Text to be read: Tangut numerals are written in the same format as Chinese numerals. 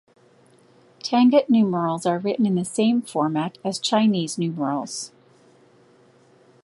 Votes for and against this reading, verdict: 2, 0, accepted